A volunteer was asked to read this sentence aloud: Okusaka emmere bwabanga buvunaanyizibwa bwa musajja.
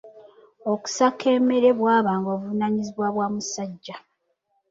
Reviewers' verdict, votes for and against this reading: rejected, 2, 3